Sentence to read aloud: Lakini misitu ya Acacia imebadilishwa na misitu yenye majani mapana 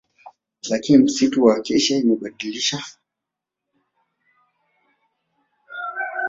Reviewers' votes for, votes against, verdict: 1, 2, rejected